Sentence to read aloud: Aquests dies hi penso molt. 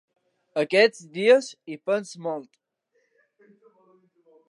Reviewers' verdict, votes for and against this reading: accepted, 3, 0